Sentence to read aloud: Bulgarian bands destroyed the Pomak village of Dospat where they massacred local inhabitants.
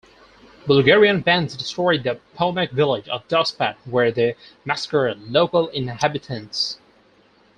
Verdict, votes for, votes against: accepted, 4, 2